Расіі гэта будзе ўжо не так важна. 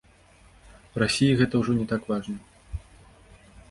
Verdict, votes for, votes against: rejected, 1, 2